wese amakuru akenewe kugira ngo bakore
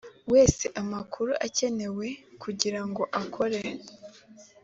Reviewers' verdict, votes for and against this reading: accepted, 6, 1